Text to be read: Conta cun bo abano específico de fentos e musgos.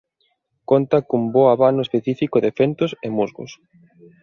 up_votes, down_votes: 2, 0